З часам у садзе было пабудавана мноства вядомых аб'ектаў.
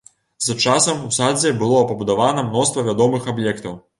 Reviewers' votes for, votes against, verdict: 0, 2, rejected